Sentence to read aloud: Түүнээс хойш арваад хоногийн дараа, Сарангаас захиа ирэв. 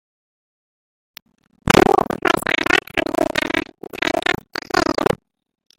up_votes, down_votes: 0, 2